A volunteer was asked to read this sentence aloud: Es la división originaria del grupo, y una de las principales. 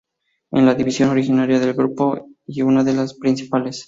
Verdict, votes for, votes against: accepted, 4, 0